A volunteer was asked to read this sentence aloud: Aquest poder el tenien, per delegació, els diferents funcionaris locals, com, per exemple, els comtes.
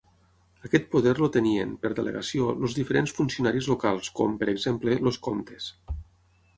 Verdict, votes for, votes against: rejected, 3, 6